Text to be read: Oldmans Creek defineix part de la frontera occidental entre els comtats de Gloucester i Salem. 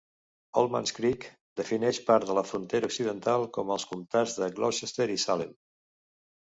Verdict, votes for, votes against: rejected, 1, 2